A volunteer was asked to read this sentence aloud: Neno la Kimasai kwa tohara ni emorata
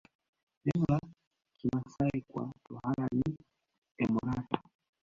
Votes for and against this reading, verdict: 1, 2, rejected